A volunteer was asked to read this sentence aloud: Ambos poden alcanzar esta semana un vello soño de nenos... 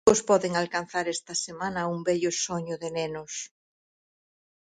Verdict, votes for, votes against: rejected, 0, 4